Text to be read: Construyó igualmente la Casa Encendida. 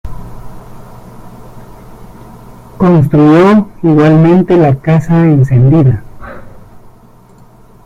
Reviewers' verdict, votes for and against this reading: rejected, 1, 2